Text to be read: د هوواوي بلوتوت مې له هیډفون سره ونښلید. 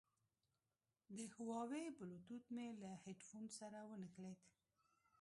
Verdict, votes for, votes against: rejected, 1, 2